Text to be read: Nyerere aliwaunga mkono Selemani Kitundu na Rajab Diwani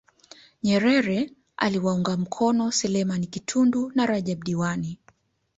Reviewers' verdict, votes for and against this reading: accepted, 2, 0